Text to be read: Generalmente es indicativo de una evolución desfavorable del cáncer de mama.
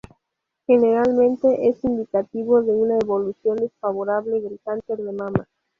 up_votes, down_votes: 0, 2